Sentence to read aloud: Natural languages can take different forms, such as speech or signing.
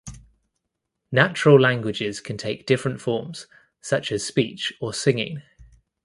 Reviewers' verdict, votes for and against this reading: rejected, 1, 2